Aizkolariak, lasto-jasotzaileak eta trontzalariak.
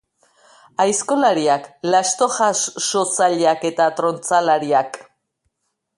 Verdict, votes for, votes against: rejected, 0, 2